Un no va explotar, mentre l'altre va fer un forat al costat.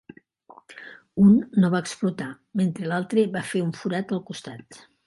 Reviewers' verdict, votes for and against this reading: rejected, 1, 2